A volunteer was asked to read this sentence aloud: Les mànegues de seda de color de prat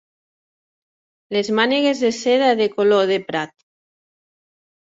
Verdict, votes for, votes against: accepted, 4, 0